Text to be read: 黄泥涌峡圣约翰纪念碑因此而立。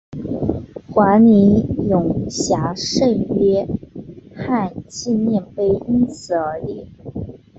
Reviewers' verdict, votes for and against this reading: accepted, 2, 0